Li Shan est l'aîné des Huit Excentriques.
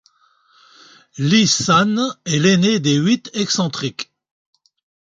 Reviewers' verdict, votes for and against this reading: rejected, 1, 2